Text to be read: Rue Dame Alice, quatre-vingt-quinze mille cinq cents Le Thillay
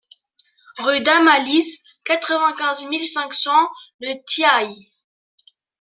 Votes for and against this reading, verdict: 0, 2, rejected